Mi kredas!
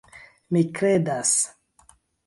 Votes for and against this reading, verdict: 2, 0, accepted